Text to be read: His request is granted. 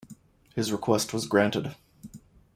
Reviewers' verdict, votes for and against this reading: rejected, 1, 2